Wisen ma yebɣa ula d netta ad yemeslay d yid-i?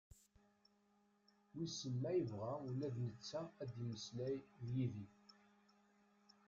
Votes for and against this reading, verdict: 0, 2, rejected